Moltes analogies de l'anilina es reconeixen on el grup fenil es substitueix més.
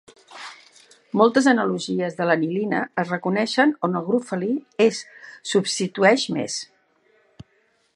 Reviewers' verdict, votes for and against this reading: rejected, 1, 2